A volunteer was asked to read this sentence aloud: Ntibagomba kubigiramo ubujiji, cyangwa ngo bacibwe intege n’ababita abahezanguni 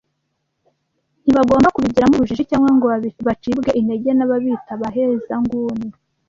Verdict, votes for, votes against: rejected, 1, 2